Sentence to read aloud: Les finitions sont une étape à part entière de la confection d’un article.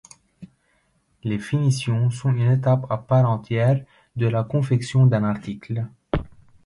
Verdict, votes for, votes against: accepted, 2, 1